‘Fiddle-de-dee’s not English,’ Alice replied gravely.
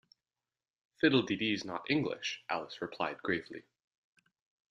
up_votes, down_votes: 2, 0